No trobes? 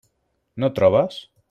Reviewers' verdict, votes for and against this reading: accepted, 3, 0